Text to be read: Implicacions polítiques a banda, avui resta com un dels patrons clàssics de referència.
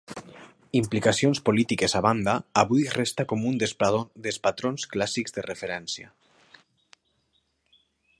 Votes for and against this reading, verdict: 0, 2, rejected